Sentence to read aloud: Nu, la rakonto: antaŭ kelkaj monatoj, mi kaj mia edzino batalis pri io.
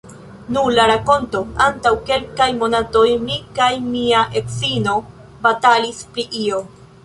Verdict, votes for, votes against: rejected, 1, 2